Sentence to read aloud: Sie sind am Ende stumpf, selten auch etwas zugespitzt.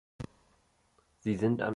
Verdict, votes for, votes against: rejected, 0, 2